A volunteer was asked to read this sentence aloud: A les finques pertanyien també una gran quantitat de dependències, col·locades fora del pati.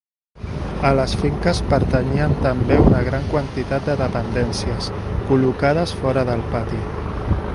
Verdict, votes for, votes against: accepted, 2, 0